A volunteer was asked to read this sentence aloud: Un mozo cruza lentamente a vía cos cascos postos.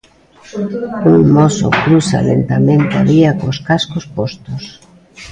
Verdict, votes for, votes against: rejected, 0, 2